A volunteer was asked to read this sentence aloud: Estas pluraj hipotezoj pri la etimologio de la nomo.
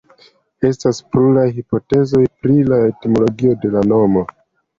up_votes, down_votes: 2, 0